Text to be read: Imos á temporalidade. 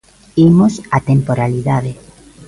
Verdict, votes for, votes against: accepted, 2, 0